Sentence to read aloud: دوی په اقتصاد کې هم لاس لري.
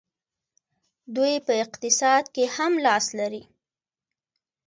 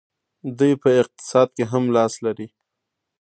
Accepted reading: first